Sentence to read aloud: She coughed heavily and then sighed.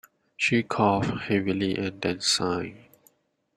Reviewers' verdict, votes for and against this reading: accepted, 2, 0